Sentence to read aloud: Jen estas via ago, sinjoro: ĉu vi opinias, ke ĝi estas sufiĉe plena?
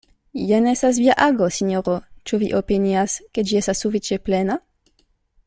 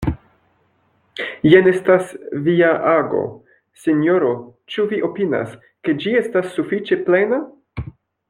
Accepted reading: first